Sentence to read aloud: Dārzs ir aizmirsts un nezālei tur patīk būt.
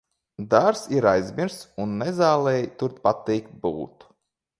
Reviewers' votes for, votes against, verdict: 2, 1, accepted